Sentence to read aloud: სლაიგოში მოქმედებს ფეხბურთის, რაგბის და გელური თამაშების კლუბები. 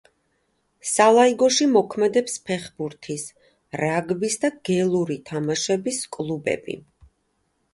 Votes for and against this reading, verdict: 0, 2, rejected